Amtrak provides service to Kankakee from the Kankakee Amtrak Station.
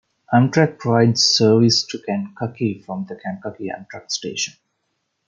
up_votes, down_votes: 2, 1